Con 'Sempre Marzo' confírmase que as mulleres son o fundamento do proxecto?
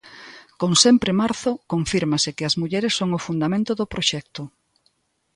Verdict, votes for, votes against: accepted, 2, 0